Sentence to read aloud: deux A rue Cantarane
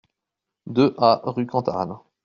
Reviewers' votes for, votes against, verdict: 2, 0, accepted